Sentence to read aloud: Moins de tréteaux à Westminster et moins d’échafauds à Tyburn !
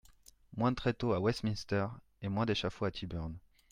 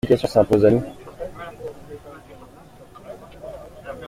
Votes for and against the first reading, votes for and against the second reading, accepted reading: 2, 0, 0, 2, first